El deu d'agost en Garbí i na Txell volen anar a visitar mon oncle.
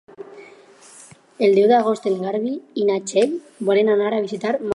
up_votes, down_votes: 2, 4